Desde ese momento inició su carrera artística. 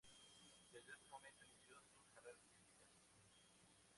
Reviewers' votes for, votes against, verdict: 0, 2, rejected